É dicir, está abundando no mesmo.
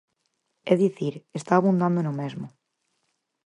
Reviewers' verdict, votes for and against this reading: accepted, 4, 0